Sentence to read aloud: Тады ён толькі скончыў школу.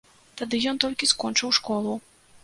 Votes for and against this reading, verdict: 2, 0, accepted